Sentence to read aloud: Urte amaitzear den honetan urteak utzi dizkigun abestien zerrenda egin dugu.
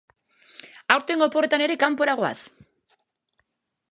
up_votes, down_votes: 0, 2